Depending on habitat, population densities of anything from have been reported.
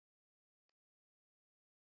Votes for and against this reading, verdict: 0, 3, rejected